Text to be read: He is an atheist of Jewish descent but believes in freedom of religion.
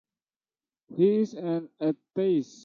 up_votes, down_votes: 0, 2